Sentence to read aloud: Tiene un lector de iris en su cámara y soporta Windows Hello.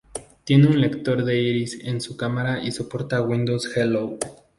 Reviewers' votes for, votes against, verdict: 4, 0, accepted